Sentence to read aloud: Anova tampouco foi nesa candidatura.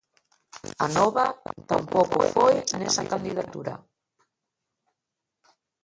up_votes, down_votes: 1, 2